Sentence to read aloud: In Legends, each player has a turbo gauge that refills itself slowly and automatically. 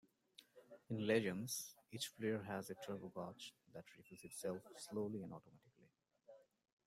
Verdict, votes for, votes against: accepted, 2, 1